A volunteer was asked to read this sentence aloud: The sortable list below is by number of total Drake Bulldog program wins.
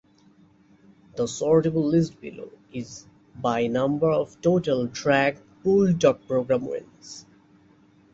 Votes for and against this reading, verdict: 2, 0, accepted